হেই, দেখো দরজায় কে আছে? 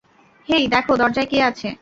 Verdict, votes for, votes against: accepted, 2, 0